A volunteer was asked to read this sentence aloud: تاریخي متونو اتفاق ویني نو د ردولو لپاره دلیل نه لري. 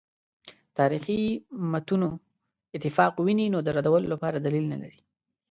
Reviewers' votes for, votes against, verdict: 2, 0, accepted